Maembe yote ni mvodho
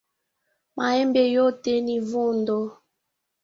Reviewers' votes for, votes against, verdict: 2, 0, accepted